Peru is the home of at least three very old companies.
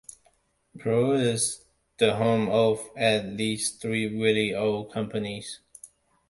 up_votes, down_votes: 2, 0